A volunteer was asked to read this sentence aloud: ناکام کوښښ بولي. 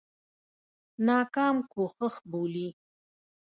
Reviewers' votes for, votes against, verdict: 1, 2, rejected